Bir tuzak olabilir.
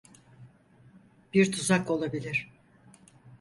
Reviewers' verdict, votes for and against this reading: accepted, 4, 0